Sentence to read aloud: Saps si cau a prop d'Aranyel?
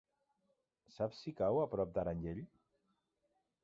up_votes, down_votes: 0, 2